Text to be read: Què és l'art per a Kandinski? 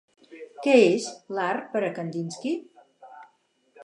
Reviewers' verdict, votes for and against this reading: rejected, 2, 4